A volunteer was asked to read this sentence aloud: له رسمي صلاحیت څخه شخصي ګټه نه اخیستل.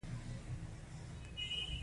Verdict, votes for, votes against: rejected, 1, 2